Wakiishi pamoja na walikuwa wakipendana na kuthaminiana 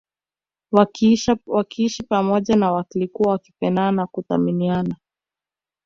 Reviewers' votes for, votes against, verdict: 2, 0, accepted